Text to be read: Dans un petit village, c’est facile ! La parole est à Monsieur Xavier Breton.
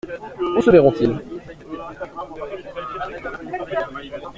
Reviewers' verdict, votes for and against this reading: rejected, 0, 2